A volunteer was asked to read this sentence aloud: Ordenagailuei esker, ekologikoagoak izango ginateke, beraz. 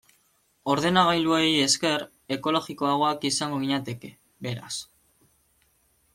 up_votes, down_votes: 2, 1